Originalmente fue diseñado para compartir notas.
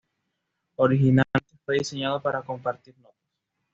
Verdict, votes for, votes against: rejected, 1, 2